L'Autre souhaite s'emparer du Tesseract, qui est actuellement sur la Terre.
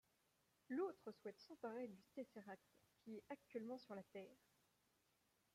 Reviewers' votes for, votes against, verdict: 0, 2, rejected